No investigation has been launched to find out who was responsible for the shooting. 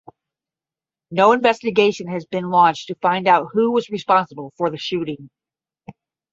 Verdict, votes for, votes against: accepted, 10, 0